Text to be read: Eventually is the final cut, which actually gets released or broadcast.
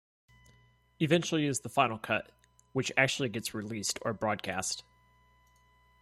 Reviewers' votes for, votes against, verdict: 2, 0, accepted